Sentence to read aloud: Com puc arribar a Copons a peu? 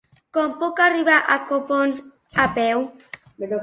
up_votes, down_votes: 1, 2